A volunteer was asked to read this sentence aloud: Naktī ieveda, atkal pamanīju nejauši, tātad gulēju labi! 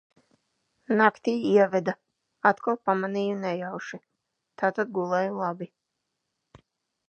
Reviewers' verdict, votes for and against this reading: accepted, 2, 0